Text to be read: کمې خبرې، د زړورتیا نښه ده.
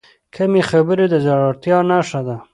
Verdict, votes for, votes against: accepted, 2, 0